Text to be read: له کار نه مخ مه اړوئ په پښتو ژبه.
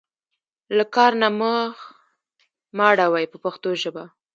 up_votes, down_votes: 1, 2